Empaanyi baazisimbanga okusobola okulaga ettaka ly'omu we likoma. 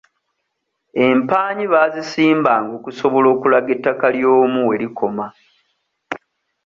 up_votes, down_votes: 2, 0